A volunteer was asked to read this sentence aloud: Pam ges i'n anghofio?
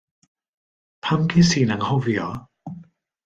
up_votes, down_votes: 2, 0